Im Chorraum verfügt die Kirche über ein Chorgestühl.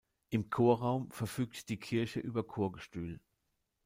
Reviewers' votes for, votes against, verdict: 0, 2, rejected